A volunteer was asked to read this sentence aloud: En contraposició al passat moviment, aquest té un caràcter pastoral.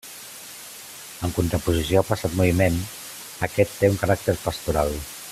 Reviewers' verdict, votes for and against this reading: accepted, 2, 0